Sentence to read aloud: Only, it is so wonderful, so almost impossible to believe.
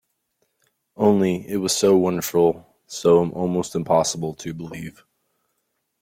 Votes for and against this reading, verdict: 0, 2, rejected